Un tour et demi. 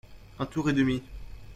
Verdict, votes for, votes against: accepted, 2, 0